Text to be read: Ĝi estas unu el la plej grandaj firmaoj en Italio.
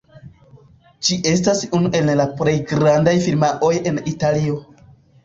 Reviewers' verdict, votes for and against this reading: rejected, 0, 2